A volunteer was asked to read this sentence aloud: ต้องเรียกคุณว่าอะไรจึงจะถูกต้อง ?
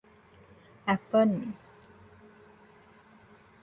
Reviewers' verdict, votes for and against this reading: rejected, 0, 2